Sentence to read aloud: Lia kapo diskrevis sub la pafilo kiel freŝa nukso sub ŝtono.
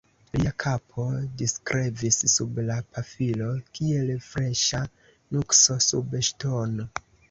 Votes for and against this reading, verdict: 1, 2, rejected